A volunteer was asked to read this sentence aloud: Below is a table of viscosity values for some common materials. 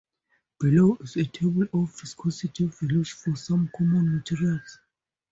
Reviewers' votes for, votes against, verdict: 4, 0, accepted